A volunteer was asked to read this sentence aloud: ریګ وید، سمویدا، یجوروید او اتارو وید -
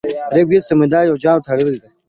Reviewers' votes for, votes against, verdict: 0, 2, rejected